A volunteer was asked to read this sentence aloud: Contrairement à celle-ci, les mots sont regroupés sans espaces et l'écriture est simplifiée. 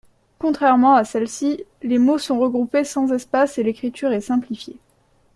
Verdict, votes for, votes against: accepted, 2, 0